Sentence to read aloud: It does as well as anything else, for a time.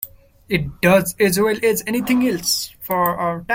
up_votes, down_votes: 1, 2